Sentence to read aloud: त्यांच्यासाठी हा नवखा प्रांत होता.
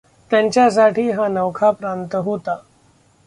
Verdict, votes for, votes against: accepted, 2, 0